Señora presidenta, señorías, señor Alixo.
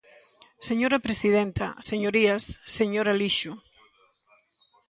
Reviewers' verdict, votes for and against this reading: accepted, 2, 0